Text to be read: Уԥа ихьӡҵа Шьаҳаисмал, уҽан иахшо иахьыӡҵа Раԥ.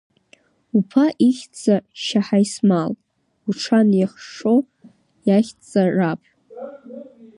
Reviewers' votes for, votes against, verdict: 1, 2, rejected